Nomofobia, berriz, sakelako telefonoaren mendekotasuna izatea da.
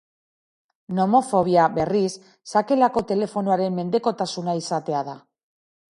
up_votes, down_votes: 2, 0